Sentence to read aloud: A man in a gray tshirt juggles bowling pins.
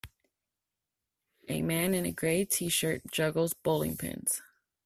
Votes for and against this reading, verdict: 3, 0, accepted